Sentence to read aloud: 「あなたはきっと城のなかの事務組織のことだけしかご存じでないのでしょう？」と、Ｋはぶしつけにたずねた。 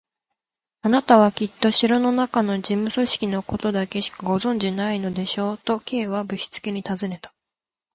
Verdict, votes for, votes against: accepted, 10, 3